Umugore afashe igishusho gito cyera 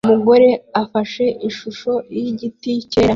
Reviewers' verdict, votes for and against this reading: accepted, 2, 1